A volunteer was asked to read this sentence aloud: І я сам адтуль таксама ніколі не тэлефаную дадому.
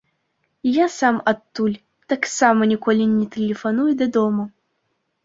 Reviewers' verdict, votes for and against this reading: accepted, 2, 0